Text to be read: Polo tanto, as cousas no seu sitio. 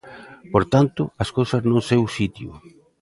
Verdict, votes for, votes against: accepted, 2, 1